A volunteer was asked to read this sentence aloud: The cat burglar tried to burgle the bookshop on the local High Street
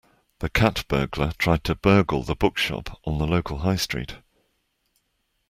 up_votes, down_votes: 2, 0